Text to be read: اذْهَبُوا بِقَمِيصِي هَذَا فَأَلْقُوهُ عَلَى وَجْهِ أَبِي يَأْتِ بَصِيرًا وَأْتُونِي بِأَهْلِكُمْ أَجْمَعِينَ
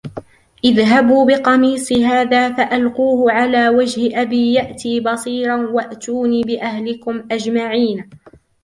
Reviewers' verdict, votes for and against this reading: accepted, 2, 1